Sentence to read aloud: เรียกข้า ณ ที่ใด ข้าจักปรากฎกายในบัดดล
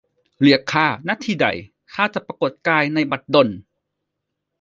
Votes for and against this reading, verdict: 2, 0, accepted